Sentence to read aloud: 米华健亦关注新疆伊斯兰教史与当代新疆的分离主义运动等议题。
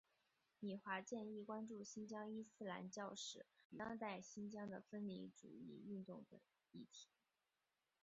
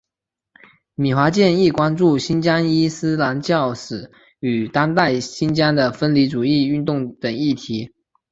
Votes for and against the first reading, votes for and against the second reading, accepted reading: 1, 3, 2, 0, second